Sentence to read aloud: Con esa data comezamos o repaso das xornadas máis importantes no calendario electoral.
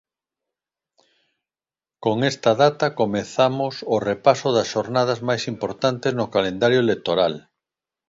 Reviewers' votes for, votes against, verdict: 2, 0, accepted